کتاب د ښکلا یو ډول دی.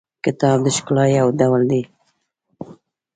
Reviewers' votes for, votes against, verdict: 1, 2, rejected